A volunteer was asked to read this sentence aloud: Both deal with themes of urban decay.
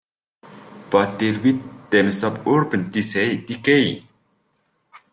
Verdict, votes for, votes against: accepted, 2, 1